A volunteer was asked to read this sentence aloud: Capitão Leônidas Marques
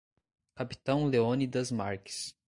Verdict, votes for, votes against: accepted, 2, 1